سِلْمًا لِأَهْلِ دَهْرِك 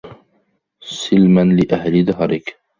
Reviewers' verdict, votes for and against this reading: accepted, 2, 0